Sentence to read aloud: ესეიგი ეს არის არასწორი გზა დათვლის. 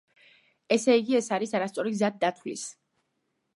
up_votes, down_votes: 2, 0